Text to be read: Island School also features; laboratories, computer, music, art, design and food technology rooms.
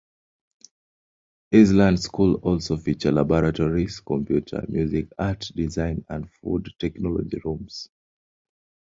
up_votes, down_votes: 0, 2